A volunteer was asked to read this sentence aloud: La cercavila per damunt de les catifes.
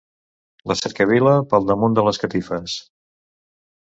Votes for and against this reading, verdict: 1, 2, rejected